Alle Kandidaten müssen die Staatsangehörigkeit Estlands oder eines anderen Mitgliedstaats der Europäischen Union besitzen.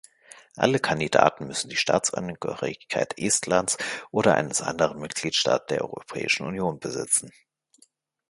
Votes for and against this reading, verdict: 0, 2, rejected